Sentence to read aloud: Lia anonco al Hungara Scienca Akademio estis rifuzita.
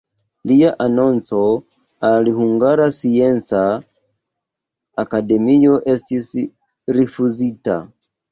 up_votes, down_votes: 1, 3